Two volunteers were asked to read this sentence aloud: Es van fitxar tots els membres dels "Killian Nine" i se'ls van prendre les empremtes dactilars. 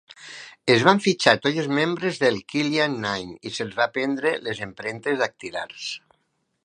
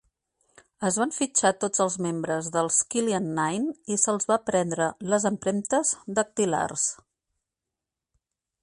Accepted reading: second